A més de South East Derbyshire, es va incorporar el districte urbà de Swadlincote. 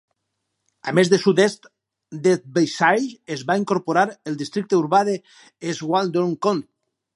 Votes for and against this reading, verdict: 0, 4, rejected